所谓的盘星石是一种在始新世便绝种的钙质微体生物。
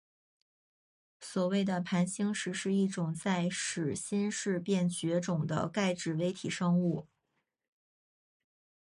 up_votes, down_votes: 5, 1